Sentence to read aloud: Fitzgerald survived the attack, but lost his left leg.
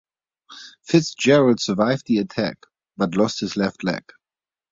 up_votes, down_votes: 2, 0